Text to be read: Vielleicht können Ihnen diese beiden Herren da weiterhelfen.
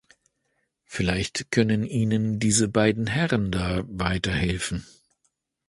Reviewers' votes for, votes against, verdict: 2, 0, accepted